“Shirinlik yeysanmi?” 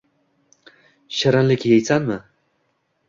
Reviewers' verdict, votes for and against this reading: accepted, 2, 0